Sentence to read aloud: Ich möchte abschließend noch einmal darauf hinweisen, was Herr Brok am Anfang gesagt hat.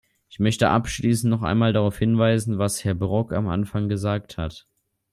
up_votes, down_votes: 2, 0